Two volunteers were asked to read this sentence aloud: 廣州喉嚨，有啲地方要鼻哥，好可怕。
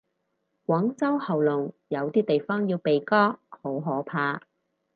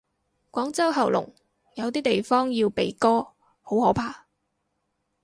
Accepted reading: second